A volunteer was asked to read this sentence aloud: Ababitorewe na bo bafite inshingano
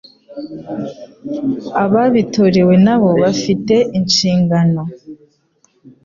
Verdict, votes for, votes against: accepted, 2, 0